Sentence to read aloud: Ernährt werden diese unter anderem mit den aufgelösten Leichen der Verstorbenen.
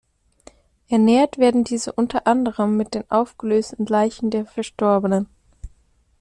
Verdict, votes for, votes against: accepted, 2, 0